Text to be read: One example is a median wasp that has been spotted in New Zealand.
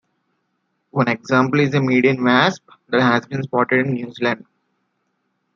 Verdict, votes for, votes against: rejected, 1, 2